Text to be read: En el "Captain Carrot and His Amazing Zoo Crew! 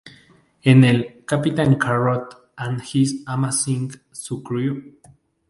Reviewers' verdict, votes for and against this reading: rejected, 0, 2